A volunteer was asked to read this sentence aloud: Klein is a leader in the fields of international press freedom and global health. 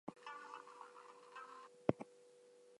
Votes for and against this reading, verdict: 0, 4, rejected